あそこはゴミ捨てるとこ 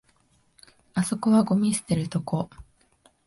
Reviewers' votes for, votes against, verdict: 2, 0, accepted